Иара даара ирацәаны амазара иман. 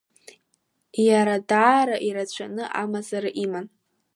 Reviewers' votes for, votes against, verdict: 1, 2, rejected